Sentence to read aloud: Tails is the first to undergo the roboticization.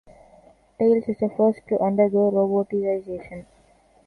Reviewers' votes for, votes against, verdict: 0, 2, rejected